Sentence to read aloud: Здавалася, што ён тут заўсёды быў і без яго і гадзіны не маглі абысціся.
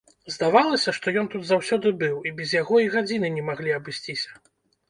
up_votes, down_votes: 2, 0